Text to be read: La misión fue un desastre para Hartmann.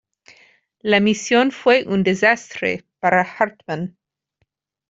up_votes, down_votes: 2, 0